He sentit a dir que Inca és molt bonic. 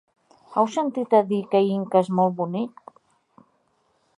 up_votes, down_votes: 0, 2